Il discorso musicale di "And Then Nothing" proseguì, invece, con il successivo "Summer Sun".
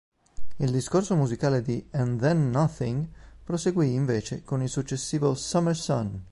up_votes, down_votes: 3, 0